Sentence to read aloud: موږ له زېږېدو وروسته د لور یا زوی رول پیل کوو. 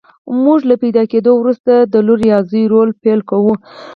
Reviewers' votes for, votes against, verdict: 0, 4, rejected